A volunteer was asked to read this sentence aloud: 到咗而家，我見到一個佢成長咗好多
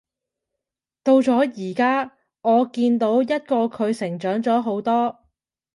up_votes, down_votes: 2, 0